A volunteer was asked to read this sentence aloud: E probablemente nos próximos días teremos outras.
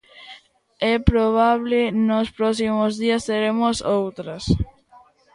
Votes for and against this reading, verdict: 0, 2, rejected